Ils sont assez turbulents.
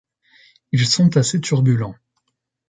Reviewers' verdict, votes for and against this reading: accepted, 2, 0